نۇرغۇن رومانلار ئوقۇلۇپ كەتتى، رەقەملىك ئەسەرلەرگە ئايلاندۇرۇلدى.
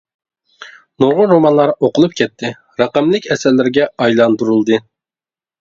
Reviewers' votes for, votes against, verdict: 2, 0, accepted